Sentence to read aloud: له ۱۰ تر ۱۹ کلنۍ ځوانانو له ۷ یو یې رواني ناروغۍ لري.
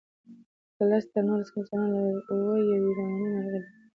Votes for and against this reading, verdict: 0, 2, rejected